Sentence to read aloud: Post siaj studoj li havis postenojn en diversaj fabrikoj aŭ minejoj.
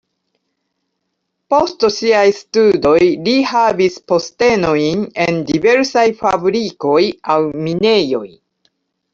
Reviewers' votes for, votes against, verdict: 0, 2, rejected